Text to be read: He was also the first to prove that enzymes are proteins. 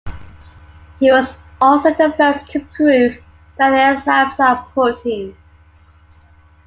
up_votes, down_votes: 1, 2